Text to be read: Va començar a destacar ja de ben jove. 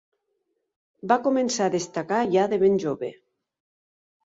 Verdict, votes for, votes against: accepted, 3, 0